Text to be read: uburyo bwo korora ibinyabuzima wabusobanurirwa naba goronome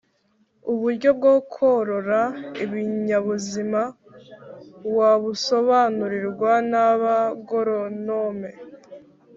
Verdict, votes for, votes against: accepted, 2, 0